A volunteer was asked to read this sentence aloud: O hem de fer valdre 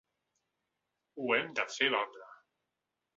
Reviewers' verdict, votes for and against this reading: accepted, 2, 1